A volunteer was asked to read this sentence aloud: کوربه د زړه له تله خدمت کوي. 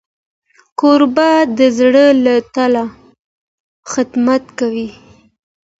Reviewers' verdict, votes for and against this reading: accepted, 2, 0